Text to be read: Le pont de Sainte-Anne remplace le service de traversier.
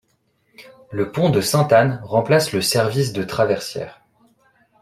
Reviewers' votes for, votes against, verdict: 0, 2, rejected